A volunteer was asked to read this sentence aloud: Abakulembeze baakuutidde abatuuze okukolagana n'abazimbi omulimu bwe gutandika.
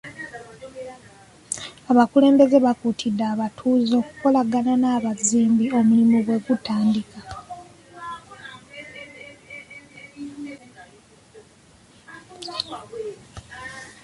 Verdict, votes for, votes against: accepted, 3, 0